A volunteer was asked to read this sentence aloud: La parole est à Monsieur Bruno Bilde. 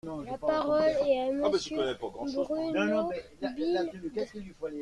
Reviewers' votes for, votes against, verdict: 1, 2, rejected